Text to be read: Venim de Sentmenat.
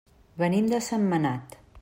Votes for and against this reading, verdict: 3, 0, accepted